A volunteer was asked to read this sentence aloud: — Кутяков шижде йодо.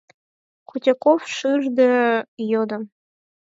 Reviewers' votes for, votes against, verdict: 2, 4, rejected